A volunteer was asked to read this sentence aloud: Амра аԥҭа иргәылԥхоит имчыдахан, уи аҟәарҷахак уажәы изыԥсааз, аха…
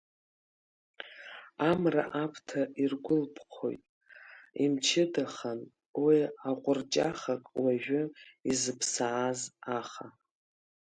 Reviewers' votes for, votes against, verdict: 1, 2, rejected